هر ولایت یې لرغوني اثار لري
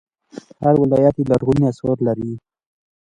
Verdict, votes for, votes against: accepted, 2, 0